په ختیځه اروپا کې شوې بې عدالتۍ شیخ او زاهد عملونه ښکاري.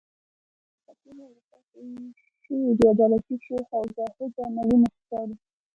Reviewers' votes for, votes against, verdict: 1, 2, rejected